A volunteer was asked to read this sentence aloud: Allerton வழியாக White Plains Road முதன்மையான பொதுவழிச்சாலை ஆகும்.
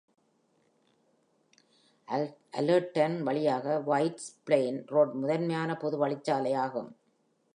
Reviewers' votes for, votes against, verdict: 3, 0, accepted